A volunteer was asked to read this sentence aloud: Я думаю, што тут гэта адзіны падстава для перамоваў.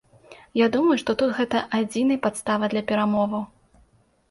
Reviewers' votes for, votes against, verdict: 2, 0, accepted